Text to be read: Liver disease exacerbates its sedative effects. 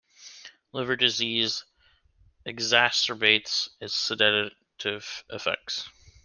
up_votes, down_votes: 2, 0